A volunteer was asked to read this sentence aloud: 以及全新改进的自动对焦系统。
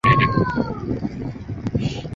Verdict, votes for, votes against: rejected, 0, 3